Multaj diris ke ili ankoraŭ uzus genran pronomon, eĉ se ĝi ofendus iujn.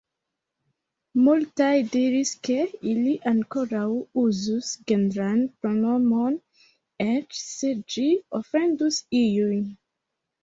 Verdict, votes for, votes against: rejected, 1, 3